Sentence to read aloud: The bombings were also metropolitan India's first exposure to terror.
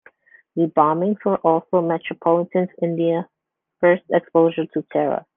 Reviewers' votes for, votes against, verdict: 2, 0, accepted